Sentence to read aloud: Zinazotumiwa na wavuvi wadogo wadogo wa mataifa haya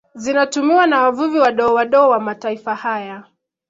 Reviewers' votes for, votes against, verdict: 0, 2, rejected